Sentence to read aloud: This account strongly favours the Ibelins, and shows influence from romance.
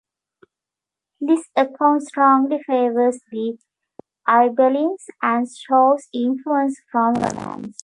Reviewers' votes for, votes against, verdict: 0, 2, rejected